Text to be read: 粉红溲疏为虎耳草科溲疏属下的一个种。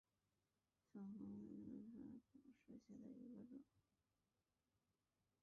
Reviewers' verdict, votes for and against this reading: rejected, 0, 3